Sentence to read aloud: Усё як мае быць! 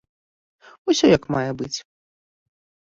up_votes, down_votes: 1, 2